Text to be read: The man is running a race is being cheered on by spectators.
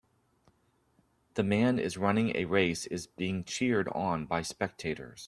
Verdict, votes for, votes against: accepted, 2, 0